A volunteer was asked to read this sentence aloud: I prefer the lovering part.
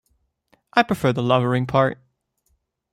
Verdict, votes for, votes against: accepted, 2, 0